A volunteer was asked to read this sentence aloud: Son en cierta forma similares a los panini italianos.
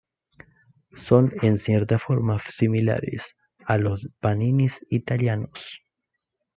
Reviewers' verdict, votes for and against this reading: rejected, 1, 2